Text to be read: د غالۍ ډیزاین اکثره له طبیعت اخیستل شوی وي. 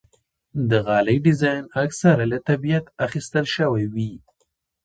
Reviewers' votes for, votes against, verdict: 3, 1, accepted